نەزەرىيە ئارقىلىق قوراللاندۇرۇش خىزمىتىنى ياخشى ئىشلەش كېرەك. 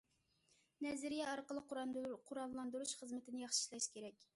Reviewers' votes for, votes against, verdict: 0, 2, rejected